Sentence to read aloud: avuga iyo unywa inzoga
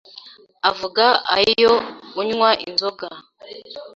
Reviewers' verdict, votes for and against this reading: rejected, 1, 2